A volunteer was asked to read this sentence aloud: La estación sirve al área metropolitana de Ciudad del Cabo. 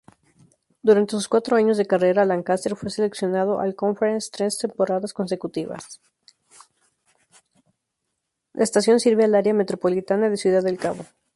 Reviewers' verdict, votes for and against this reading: rejected, 0, 2